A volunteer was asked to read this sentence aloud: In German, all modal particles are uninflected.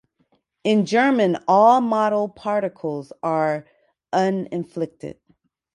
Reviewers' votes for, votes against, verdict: 0, 2, rejected